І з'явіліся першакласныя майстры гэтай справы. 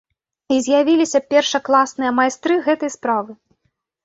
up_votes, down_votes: 2, 0